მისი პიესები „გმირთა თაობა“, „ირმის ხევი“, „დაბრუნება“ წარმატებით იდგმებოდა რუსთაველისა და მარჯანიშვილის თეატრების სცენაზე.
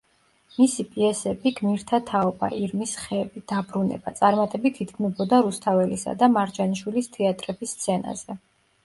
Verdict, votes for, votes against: accepted, 2, 0